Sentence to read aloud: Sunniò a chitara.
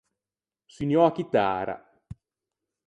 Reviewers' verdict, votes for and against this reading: accepted, 4, 0